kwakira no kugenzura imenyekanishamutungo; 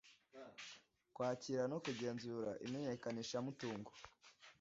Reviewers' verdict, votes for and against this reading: accepted, 2, 0